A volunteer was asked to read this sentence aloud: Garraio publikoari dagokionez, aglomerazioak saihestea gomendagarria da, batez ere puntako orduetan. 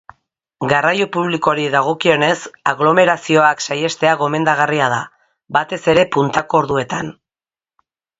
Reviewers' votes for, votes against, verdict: 3, 0, accepted